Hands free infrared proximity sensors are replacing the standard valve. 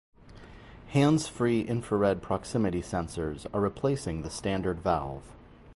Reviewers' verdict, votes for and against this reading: rejected, 0, 2